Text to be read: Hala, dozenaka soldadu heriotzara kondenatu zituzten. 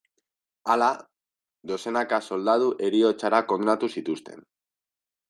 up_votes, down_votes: 2, 0